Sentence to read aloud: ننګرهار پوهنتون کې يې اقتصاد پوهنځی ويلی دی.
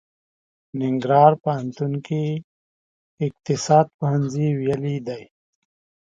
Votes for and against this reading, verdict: 1, 2, rejected